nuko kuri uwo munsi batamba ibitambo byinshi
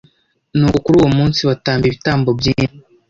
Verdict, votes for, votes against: rejected, 0, 2